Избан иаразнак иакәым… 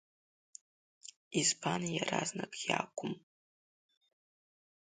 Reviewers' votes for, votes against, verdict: 2, 1, accepted